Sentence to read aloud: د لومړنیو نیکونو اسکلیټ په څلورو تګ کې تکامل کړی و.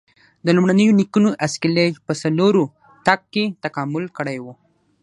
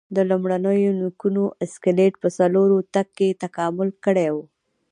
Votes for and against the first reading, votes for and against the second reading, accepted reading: 6, 0, 0, 2, first